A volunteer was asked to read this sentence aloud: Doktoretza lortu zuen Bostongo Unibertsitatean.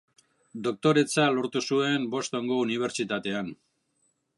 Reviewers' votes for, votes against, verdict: 2, 0, accepted